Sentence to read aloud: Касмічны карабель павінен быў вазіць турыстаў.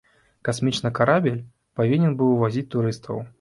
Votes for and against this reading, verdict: 1, 2, rejected